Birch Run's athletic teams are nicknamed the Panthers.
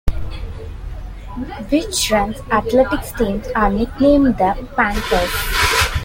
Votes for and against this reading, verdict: 2, 3, rejected